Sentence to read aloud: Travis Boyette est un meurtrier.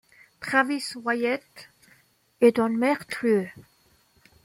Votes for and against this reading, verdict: 0, 2, rejected